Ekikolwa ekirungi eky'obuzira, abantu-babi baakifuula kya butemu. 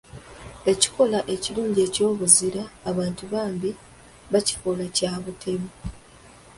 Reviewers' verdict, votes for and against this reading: rejected, 0, 2